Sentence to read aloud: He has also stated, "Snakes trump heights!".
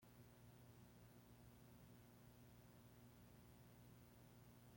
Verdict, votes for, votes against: rejected, 0, 2